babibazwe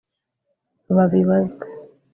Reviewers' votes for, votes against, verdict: 1, 2, rejected